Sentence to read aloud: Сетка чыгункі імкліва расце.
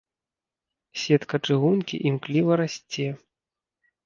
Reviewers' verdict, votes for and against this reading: accepted, 2, 0